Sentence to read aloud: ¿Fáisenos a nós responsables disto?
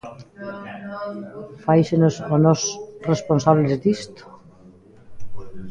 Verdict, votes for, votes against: rejected, 0, 2